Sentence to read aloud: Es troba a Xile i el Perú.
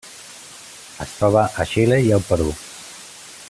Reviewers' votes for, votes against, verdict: 2, 0, accepted